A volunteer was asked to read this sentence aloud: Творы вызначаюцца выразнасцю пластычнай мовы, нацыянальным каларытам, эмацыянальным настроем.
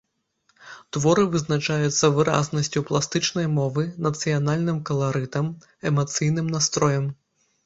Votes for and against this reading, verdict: 0, 2, rejected